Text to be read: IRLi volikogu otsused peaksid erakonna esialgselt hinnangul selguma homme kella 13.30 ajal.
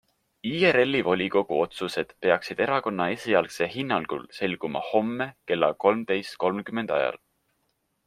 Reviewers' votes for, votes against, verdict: 0, 2, rejected